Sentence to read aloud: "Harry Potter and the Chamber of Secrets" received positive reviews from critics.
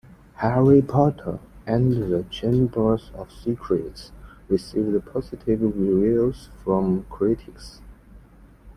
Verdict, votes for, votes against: accepted, 2, 1